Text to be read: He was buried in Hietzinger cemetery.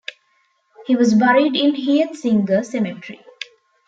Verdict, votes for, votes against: accepted, 2, 0